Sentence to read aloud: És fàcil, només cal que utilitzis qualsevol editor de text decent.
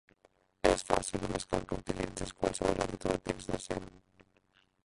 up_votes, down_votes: 0, 2